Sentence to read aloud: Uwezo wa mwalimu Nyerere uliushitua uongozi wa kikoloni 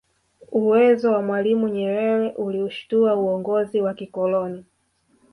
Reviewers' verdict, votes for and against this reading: accepted, 2, 1